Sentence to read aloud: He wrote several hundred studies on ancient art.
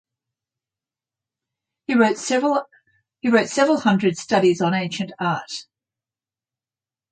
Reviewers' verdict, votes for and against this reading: rejected, 3, 6